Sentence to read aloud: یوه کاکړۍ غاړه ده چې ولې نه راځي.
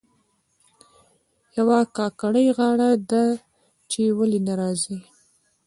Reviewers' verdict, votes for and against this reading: accepted, 2, 0